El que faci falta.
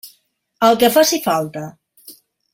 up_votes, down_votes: 3, 0